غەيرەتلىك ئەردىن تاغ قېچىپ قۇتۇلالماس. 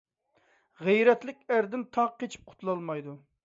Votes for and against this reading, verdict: 0, 2, rejected